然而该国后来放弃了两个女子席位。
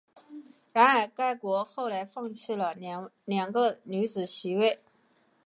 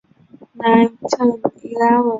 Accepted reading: first